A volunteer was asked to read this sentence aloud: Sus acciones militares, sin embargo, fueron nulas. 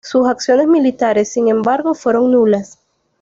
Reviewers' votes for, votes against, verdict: 2, 0, accepted